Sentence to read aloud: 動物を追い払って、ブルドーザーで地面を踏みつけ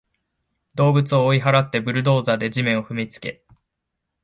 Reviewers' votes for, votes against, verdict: 6, 0, accepted